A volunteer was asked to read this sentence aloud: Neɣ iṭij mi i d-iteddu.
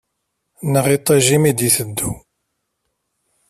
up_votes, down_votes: 1, 2